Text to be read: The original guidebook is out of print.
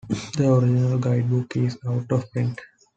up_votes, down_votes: 2, 0